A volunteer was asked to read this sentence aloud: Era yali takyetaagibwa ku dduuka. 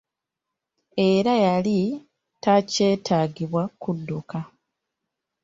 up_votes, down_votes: 1, 2